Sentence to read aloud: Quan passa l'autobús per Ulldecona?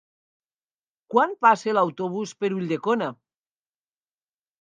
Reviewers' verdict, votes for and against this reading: accepted, 3, 0